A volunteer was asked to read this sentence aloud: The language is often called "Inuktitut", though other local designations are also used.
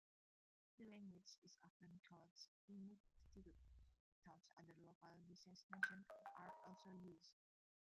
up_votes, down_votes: 0, 2